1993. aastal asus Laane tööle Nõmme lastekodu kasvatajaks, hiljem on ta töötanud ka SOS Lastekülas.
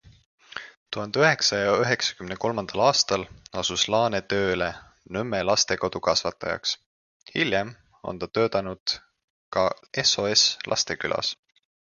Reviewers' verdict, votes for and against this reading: rejected, 0, 2